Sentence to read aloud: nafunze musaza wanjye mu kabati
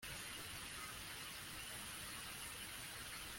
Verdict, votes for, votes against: rejected, 0, 2